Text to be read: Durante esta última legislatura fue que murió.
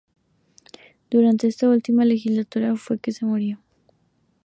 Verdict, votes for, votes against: rejected, 0, 2